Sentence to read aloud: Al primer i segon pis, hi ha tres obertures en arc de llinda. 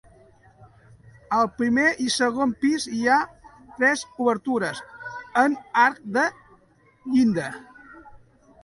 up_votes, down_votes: 0, 2